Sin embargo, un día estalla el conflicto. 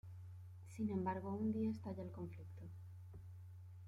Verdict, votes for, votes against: accepted, 2, 1